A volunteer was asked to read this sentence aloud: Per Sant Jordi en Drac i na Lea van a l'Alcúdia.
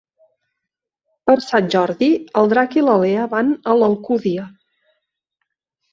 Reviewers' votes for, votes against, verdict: 0, 2, rejected